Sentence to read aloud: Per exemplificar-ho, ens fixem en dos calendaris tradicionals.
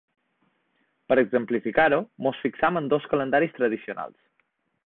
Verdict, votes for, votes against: rejected, 0, 2